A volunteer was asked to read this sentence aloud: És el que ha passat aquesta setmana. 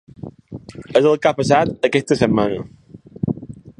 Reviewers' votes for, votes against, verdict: 1, 2, rejected